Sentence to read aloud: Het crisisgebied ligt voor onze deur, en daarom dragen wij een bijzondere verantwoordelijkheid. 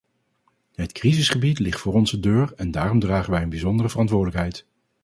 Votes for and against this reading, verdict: 2, 0, accepted